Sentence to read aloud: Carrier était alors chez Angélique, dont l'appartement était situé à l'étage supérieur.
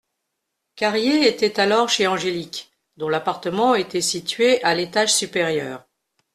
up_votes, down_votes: 2, 0